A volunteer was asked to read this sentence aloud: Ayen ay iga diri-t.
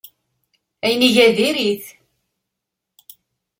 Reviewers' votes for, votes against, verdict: 2, 0, accepted